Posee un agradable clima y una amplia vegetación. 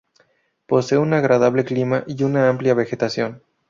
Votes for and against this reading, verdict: 2, 2, rejected